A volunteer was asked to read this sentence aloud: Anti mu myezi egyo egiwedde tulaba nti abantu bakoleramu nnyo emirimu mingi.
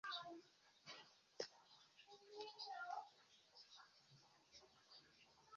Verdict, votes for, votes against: rejected, 1, 2